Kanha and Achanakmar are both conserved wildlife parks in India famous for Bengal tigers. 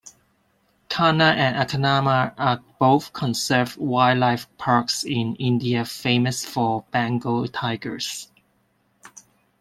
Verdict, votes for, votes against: rejected, 1, 2